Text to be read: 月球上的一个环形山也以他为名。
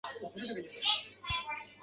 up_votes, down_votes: 1, 2